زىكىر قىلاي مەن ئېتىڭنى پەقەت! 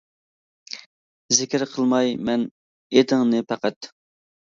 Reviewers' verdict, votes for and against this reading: rejected, 1, 2